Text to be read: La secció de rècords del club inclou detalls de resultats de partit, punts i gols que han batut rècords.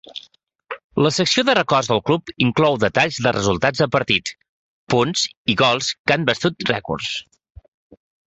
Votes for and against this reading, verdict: 0, 2, rejected